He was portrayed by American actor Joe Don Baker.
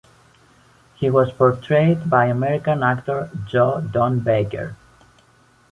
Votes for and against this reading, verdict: 2, 0, accepted